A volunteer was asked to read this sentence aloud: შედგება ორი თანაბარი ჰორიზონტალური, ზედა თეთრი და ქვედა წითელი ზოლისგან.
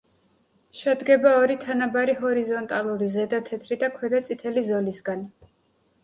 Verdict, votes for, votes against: accepted, 2, 0